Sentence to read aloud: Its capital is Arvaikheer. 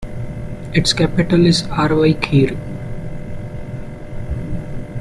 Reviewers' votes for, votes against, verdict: 0, 2, rejected